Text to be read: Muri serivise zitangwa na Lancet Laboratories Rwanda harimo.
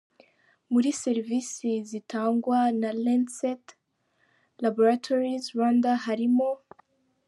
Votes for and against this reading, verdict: 2, 0, accepted